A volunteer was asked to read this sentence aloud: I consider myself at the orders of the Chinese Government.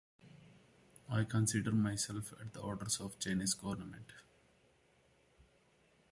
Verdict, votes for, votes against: rejected, 0, 2